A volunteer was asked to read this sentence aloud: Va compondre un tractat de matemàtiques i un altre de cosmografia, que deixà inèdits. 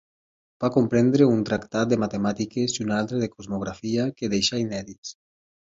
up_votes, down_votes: 2, 4